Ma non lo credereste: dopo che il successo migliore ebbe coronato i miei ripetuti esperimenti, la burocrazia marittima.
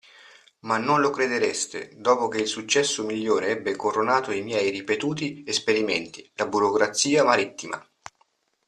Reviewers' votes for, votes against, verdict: 2, 0, accepted